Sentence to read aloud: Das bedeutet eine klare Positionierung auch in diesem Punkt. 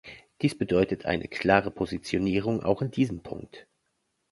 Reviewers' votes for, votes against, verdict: 1, 2, rejected